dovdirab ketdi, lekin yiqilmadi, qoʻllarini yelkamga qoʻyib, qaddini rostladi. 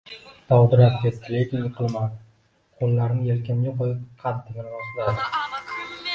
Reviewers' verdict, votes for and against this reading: rejected, 1, 2